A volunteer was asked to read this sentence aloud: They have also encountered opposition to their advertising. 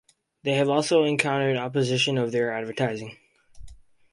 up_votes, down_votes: 2, 2